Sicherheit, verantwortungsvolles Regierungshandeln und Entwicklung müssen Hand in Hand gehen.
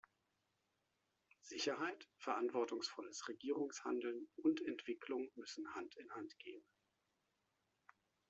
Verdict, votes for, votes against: accepted, 2, 0